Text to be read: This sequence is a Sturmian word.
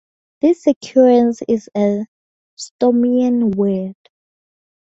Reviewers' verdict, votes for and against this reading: accepted, 2, 0